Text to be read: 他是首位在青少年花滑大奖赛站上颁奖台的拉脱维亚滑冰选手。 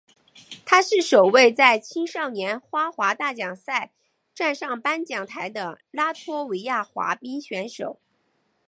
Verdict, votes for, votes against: accepted, 4, 0